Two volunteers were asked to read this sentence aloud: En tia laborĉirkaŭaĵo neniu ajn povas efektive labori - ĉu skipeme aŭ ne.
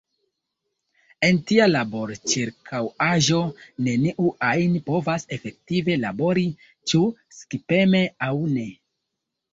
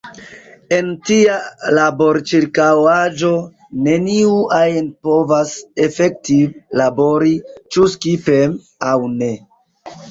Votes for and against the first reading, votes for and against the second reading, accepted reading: 2, 1, 1, 2, first